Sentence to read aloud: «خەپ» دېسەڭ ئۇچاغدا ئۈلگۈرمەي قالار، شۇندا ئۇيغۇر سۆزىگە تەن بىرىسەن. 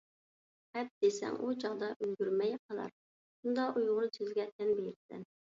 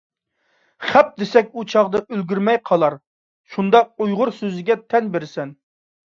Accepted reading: first